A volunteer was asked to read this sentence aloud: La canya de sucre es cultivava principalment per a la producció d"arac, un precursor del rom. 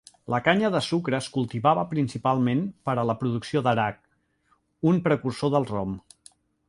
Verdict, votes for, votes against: accepted, 2, 0